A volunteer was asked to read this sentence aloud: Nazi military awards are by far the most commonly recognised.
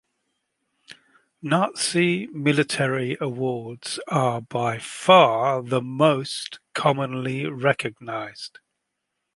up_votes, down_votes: 2, 0